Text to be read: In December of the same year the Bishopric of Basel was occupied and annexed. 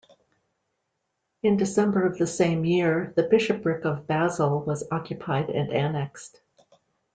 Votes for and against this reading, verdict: 2, 0, accepted